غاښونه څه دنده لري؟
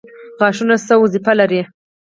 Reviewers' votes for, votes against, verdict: 0, 4, rejected